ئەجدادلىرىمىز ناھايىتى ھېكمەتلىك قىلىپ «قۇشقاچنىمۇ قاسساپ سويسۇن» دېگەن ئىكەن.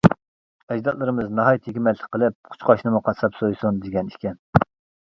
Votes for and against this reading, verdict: 0, 2, rejected